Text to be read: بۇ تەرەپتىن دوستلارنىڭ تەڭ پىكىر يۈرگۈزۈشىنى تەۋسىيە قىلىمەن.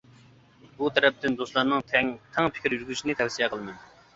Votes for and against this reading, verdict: 0, 2, rejected